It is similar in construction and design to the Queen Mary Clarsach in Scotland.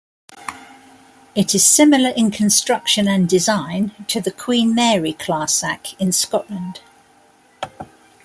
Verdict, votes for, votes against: accepted, 2, 0